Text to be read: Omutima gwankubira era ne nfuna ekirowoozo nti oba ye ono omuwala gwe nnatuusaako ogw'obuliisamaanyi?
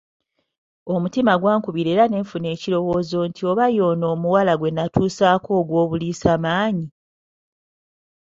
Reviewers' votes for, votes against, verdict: 2, 0, accepted